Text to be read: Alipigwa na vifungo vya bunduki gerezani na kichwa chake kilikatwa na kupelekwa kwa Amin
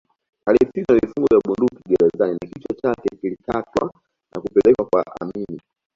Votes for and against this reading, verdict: 2, 1, accepted